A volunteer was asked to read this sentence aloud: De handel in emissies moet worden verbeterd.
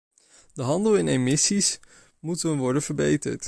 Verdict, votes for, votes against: rejected, 0, 2